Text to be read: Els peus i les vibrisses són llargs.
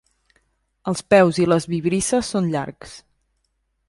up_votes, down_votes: 2, 0